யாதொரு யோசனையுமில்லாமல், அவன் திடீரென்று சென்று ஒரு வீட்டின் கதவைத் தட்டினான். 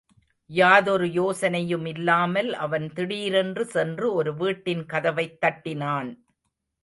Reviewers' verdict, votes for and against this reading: rejected, 1, 2